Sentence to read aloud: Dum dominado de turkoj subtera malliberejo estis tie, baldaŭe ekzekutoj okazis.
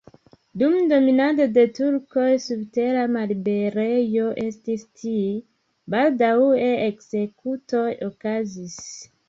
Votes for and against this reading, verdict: 1, 2, rejected